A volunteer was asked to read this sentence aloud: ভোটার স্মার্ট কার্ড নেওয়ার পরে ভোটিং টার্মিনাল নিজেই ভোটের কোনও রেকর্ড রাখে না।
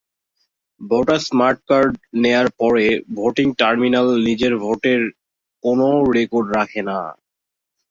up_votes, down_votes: 2, 5